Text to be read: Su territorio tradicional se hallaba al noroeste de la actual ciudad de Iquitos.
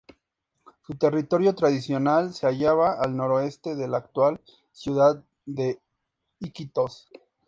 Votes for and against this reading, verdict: 2, 0, accepted